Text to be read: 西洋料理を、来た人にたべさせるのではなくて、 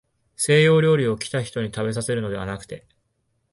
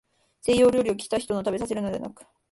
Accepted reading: first